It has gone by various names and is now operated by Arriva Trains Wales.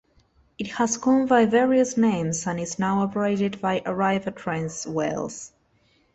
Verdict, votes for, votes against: accepted, 2, 0